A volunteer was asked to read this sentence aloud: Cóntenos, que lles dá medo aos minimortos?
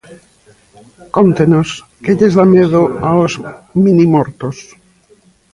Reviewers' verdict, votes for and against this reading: accepted, 2, 1